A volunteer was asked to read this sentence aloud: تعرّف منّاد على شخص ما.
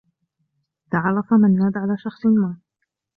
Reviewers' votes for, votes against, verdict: 2, 0, accepted